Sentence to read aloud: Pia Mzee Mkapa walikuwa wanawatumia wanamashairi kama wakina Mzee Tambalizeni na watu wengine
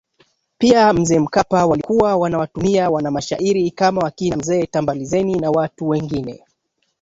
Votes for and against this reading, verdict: 2, 1, accepted